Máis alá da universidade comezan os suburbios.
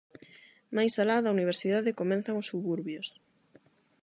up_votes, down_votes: 0, 8